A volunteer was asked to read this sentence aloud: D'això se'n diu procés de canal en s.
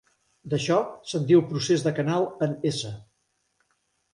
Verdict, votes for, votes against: accepted, 2, 1